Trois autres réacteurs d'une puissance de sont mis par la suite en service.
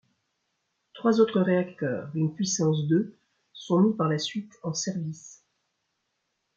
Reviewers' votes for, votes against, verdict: 1, 2, rejected